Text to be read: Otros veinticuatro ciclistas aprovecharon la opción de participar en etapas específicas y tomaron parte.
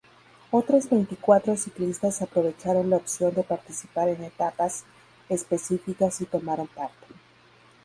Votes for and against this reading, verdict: 0, 2, rejected